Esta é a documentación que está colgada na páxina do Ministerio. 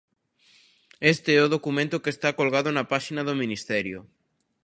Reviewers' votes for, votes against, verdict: 0, 2, rejected